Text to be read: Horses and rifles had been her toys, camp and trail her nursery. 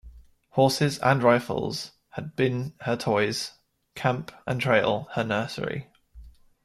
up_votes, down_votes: 2, 0